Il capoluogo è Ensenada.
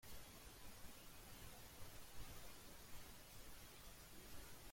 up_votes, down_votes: 0, 2